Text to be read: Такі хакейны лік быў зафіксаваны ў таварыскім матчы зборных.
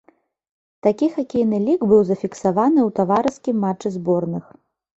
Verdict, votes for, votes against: rejected, 1, 2